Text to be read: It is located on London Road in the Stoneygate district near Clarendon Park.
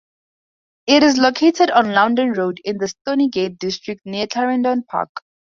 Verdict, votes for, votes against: accepted, 4, 2